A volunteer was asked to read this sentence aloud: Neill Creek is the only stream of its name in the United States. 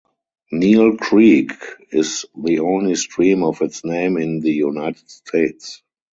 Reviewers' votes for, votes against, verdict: 4, 0, accepted